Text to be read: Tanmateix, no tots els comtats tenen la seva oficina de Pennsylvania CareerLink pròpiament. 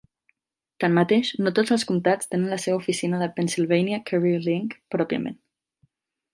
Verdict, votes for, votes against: accepted, 2, 0